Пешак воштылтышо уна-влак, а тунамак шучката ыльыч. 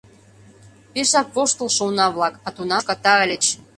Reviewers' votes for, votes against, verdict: 0, 2, rejected